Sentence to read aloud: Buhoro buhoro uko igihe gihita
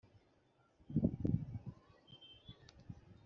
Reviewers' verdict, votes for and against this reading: accepted, 2, 0